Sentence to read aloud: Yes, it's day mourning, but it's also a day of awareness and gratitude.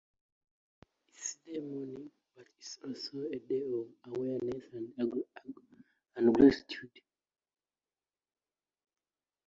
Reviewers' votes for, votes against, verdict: 0, 2, rejected